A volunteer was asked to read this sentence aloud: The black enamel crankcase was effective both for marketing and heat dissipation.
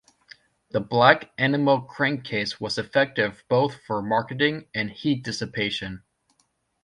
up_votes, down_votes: 0, 2